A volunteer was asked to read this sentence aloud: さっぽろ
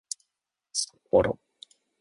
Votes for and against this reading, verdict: 1, 2, rejected